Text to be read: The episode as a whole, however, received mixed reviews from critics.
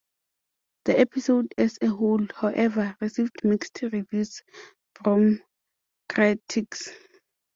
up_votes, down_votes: 2, 0